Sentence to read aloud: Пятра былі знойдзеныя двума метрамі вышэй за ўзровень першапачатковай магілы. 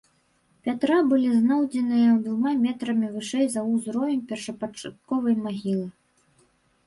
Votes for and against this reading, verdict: 2, 0, accepted